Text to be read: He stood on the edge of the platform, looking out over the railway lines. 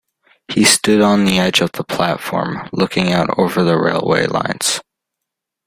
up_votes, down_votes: 2, 0